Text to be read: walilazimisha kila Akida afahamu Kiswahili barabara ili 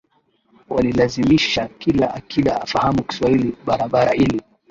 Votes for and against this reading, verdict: 10, 6, accepted